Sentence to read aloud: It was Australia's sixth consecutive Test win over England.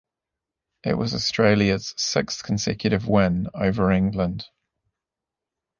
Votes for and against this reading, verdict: 0, 2, rejected